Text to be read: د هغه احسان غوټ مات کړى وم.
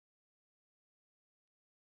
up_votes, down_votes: 0, 2